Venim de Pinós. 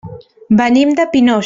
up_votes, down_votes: 3, 0